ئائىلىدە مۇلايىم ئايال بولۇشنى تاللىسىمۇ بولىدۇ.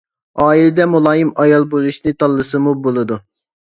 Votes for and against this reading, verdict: 2, 0, accepted